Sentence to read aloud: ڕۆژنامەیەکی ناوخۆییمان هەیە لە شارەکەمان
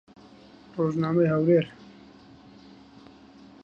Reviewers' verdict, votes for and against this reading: rejected, 0, 2